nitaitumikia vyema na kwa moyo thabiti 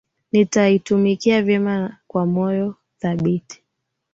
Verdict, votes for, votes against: accepted, 4, 2